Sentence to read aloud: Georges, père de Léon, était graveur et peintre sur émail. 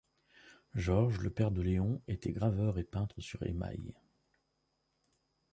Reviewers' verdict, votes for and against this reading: rejected, 0, 2